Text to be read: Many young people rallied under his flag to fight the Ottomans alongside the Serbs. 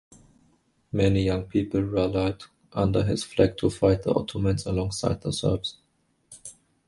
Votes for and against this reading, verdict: 0, 2, rejected